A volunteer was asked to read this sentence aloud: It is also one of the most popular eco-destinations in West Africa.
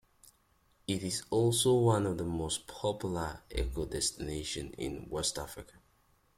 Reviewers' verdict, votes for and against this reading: accepted, 2, 0